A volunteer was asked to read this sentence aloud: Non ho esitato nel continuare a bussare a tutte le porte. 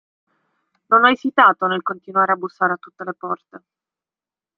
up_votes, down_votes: 2, 0